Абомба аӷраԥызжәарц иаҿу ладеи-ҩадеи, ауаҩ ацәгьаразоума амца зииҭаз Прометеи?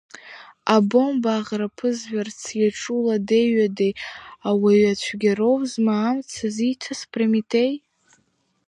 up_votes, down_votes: 1, 2